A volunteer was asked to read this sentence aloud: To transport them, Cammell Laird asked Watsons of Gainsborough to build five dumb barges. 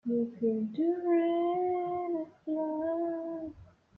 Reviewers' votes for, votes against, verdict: 0, 2, rejected